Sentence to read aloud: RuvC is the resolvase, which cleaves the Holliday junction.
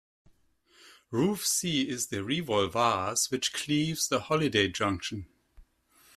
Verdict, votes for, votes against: rejected, 1, 2